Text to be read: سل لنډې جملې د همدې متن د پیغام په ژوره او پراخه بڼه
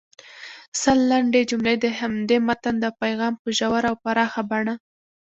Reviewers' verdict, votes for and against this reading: accepted, 2, 0